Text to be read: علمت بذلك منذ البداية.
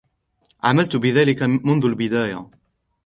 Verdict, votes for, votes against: accepted, 2, 0